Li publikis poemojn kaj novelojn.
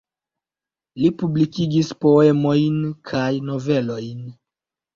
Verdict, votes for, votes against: rejected, 1, 2